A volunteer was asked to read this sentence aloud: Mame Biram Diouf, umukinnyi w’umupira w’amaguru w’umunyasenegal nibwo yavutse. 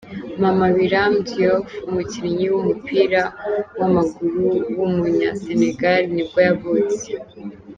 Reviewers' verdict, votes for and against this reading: rejected, 1, 2